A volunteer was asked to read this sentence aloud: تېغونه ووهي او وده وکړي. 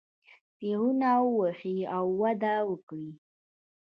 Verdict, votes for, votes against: rejected, 0, 2